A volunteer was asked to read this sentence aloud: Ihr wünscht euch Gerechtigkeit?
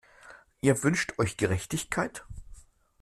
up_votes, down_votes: 2, 0